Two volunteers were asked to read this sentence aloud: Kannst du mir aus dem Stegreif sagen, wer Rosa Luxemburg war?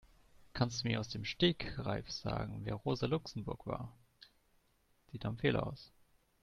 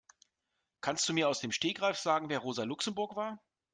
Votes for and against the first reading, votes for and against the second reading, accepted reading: 0, 2, 2, 0, second